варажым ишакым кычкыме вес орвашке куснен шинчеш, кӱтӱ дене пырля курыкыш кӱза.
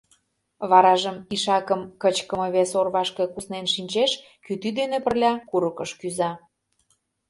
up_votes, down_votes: 2, 0